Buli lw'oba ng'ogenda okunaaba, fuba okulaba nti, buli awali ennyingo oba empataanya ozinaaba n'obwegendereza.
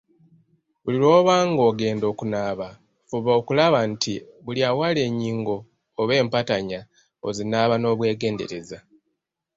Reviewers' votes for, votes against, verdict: 1, 2, rejected